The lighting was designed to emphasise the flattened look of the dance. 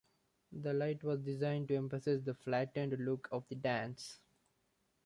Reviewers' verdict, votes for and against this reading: rejected, 0, 2